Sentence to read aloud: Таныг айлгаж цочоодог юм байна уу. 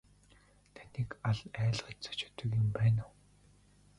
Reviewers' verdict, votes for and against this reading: rejected, 1, 2